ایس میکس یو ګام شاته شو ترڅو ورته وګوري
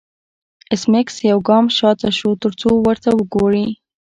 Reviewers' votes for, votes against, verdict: 2, 0, accepted